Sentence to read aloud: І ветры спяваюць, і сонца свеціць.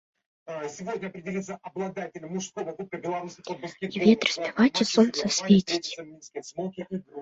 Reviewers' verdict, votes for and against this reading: rejected, 0, 2